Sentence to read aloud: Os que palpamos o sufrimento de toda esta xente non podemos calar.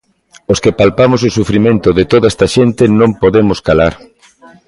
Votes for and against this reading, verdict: 2, 0, accepted